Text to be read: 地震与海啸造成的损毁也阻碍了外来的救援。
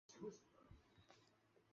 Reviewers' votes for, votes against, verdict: 1, 2, rejected